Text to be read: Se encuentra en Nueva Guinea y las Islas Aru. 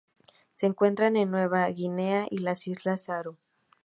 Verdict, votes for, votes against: accepted, 2, 0